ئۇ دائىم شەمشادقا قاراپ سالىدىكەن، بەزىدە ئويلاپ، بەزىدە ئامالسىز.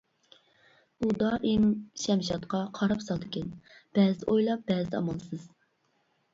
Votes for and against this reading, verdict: 2, 1, accepted